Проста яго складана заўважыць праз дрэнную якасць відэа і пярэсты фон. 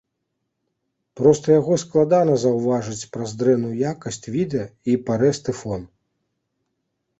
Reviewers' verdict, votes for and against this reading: rejected, 0, 2